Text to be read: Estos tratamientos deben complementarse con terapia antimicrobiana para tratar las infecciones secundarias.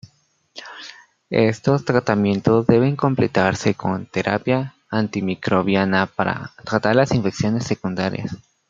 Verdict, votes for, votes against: rejected, 0, 2